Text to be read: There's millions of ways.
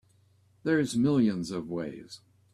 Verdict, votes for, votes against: accepted, 3, 0